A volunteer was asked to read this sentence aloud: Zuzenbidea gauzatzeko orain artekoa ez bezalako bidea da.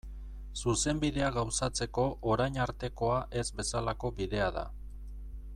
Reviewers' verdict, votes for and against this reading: accepted, 2, 0